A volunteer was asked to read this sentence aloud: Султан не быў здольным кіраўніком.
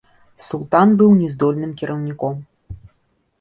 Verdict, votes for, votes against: rejected, 0, 2